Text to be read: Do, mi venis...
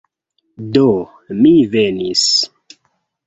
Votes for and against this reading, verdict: 2, 0, accepted